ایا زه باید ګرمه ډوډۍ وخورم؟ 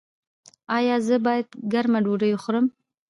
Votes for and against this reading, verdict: 2, 0, accepted